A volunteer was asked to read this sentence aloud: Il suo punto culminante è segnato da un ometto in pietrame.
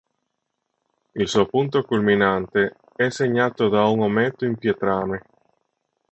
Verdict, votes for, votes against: accepted, 3, 0